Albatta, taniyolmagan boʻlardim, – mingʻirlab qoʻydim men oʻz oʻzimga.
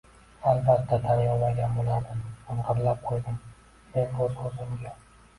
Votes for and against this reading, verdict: 0, 2, rejected